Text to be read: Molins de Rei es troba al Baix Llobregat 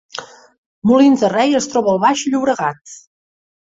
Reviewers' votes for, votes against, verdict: 3, 0, accepted